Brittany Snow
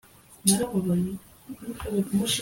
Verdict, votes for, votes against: rejected, 0, 2